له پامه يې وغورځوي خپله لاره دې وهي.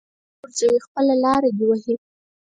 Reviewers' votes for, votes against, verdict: 2, 4, rejected